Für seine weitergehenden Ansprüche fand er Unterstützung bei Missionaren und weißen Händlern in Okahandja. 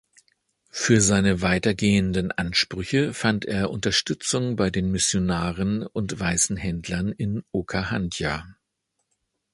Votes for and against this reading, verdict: 2, 3, rejected